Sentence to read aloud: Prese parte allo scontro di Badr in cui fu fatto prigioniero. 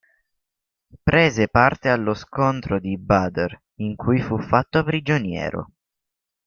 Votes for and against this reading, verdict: 2, 0, accepted